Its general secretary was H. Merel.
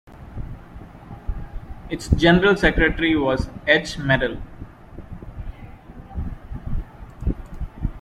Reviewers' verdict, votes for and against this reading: accepted, 2, 1